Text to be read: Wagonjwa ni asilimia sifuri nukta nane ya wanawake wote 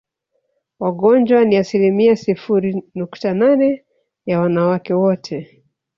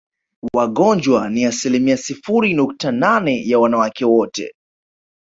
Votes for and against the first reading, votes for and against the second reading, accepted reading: 1, 2, 2, 1, second